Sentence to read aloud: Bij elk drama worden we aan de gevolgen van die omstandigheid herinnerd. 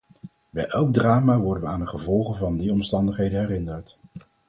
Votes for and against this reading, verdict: 2, 2, rejected